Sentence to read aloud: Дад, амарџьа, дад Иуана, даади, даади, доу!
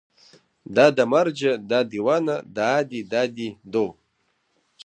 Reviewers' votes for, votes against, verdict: 1, 2, rejected